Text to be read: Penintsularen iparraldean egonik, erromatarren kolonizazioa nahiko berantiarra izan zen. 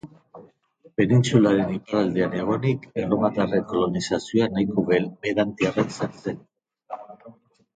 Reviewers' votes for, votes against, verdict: 1, 3, rejected